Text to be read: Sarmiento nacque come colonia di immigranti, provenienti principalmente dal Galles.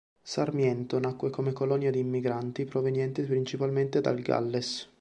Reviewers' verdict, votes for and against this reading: accepted, 2, 0